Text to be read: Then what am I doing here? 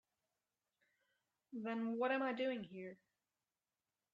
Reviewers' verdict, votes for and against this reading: accepted, 3, 0